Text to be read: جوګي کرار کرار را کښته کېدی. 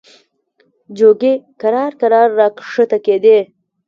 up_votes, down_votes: 1, 2